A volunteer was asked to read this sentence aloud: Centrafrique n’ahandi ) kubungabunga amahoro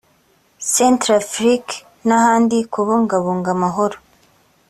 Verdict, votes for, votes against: accepted, 4, 0